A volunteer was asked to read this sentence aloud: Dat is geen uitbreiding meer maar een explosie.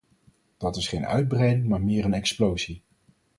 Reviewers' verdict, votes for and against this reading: rejected, 2, 4